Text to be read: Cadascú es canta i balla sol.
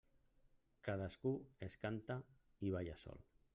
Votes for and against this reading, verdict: 1, 2, rejected